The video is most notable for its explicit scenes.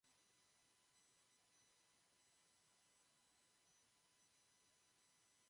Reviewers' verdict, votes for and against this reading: rejected, 0, 2